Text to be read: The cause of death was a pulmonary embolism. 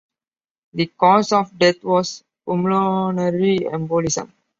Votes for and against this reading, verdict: 0, 2, rejected